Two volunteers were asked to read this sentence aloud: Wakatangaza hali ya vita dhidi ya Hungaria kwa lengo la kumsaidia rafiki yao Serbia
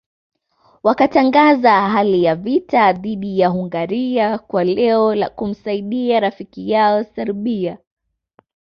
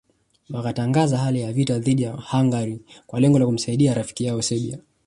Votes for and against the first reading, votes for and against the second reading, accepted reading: 0, 2, 2, 1, second